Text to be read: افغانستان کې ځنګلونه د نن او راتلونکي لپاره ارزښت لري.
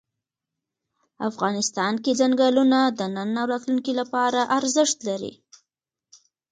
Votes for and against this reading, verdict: 2, 0, accepted